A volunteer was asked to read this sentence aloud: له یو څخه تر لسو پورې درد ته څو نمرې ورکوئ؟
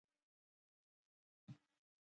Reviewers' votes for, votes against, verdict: 0, 2, rejected